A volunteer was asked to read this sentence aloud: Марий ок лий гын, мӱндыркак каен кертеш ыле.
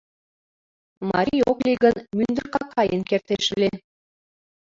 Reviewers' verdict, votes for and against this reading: rejected, 1, 2